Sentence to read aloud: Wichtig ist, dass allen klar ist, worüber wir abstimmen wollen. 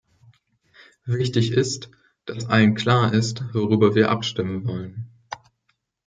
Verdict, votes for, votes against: accepted, 2, 0